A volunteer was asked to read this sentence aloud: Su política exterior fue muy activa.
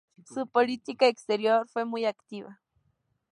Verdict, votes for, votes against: accepted, 2, 0